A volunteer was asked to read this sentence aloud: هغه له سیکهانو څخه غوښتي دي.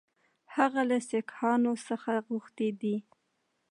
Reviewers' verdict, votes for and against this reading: accepted, 2, 0